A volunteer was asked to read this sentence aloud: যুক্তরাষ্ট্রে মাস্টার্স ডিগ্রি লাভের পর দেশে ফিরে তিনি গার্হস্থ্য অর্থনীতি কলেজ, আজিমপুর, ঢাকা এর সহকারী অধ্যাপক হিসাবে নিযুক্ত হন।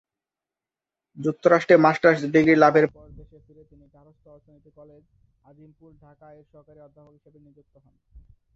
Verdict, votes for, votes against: rejected, 1, 2